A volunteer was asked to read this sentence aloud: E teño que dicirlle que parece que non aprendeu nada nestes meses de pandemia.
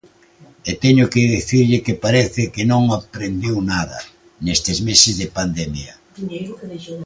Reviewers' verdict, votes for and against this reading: rejected, 1, 2